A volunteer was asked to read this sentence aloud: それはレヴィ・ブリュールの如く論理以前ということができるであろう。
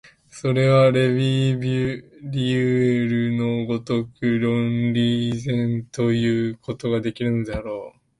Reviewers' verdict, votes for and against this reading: rejected, 0, 2